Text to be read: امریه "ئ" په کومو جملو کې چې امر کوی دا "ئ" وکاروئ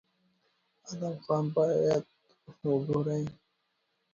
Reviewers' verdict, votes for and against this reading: rejected, 0, 2